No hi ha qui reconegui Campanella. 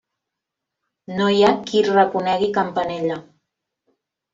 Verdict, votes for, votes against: accepted, 3, 0